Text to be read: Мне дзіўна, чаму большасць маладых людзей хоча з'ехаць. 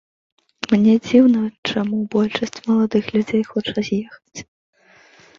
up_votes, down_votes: 2, 0